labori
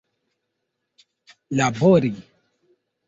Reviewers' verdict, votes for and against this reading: rejected, 0, 2